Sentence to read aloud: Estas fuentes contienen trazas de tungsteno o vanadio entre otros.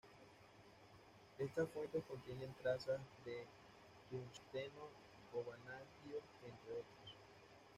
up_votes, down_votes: 2, 0